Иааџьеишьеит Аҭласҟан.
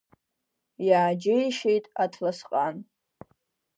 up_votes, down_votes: 2, 0